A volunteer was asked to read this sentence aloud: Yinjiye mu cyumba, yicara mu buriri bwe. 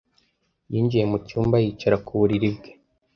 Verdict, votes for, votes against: rejected, 1, 2